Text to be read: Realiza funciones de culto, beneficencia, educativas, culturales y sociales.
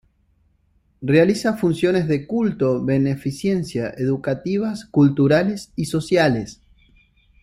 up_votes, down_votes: 2, 0